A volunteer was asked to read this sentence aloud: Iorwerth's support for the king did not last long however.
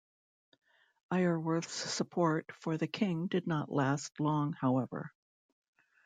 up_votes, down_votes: 2, 0